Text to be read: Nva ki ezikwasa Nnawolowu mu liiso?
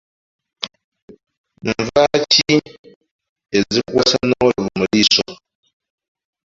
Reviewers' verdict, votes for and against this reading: rejected, 0, 2